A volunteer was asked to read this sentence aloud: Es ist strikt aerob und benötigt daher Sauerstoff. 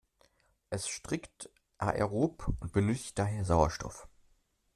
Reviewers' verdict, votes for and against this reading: rejected, 0, 2